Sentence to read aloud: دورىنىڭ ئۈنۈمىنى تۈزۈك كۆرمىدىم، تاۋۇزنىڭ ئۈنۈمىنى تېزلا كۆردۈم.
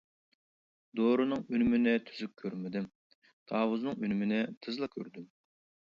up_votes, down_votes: 2, 0